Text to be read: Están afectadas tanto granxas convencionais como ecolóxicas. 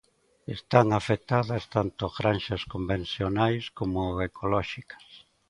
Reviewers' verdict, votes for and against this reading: accepted, 2, 0